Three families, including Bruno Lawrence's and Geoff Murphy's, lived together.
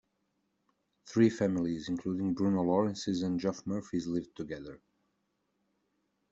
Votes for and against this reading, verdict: 2, 0, accepted